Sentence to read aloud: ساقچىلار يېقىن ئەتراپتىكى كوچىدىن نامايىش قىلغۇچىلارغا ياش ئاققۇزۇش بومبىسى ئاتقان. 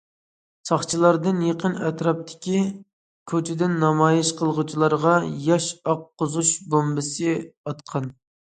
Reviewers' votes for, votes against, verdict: 0, 2, rejected